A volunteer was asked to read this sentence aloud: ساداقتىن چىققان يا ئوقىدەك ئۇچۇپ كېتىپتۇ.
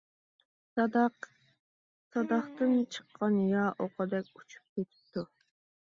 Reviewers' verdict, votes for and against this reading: rejected, 0, 2